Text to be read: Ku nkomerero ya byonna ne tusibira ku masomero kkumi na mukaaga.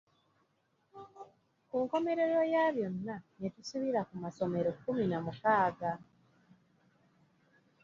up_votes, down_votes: 2, 0